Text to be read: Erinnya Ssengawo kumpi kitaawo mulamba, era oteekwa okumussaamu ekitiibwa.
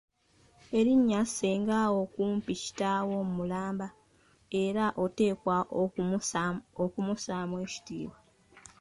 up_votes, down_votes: 2, 1